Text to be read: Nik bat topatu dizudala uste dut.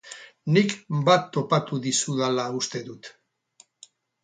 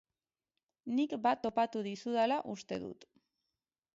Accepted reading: second